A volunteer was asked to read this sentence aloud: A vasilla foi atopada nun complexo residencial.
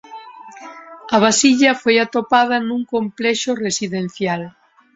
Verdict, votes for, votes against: accepted, 2, 0